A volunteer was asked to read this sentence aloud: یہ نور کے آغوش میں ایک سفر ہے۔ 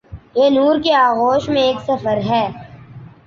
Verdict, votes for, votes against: accepted, 2, 0